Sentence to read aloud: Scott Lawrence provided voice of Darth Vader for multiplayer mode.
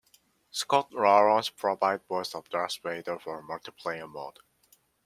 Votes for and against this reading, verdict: 0, 2, rejected